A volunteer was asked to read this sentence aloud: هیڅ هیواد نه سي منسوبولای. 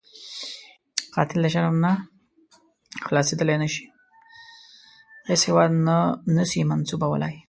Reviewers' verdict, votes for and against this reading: rejected, 0, 2